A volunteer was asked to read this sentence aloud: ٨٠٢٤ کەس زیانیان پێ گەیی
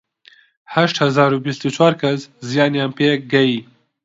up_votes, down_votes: 0, 2